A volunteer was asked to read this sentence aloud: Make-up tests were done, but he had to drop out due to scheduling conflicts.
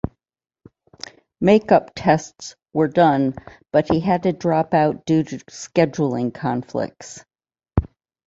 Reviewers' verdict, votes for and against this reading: rejected, 1, 2